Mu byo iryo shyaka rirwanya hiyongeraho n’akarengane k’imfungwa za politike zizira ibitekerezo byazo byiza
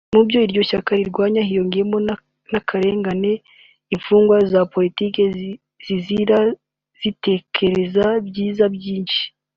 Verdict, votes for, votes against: rejected, 1, 2